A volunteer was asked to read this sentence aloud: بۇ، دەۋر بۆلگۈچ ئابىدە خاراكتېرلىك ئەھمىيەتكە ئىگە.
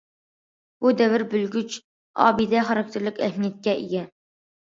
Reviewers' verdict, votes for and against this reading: accepted, 2, 0